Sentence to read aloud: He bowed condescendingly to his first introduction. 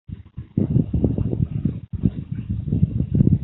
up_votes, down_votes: 0, 2